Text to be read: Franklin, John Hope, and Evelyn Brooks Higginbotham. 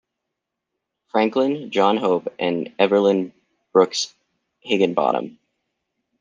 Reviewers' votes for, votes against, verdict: 2, 1, accepted